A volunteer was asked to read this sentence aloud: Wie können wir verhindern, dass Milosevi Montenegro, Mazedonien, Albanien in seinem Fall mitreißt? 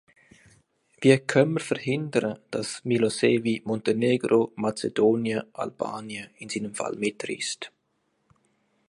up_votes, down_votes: 1, 2